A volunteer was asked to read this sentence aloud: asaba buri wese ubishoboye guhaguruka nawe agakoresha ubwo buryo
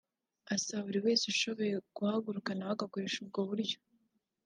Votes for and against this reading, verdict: 0, 2, rejected